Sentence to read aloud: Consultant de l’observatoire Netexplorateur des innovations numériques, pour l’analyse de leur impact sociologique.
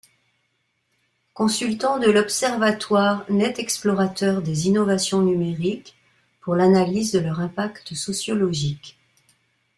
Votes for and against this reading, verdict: 2, 1, accepted